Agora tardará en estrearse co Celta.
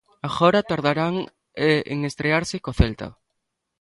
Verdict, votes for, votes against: rejected, 1, 2